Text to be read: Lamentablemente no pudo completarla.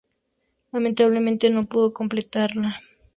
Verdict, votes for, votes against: accepted, 2, 0